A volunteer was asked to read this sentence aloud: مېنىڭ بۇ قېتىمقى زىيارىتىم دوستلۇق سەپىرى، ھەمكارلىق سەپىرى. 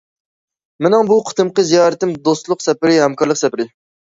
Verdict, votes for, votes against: accepted, 2, 0